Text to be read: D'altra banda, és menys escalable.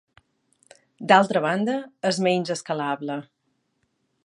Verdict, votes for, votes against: accepted, 2, 0